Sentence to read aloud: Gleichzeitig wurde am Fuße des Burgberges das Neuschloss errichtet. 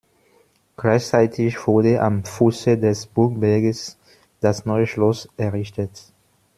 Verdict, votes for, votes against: rejected, 1, 2